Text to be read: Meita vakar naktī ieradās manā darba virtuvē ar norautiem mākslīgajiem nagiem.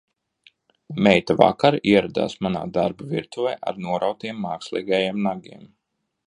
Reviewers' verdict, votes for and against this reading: rejected, 0, 2